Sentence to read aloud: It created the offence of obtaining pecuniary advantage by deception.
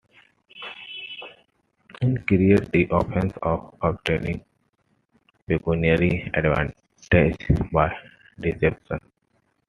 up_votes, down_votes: 0, 2